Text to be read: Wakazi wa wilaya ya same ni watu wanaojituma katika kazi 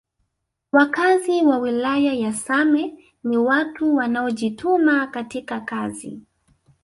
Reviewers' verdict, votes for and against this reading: rejected, 0, 2